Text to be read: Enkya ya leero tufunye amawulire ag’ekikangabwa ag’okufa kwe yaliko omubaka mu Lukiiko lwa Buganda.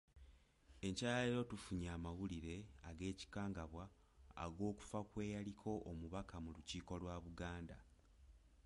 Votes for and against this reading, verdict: 2, 0, accepted